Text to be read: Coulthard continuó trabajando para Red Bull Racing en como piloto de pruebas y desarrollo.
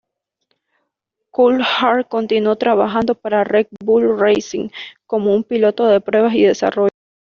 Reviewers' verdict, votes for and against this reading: accepted, 2, 1